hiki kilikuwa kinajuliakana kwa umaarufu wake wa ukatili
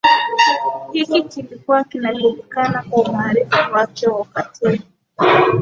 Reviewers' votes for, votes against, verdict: 4, 3, accepted